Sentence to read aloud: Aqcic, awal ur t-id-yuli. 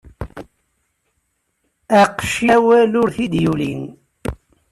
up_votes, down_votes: 1, 3